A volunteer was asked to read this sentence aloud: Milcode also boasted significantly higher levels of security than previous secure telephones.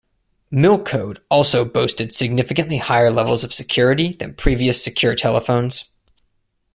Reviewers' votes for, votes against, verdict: 2, 1, accepted